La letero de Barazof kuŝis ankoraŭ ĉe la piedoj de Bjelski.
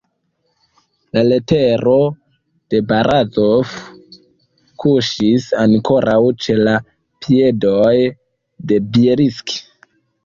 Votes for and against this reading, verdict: 0, 2, rejected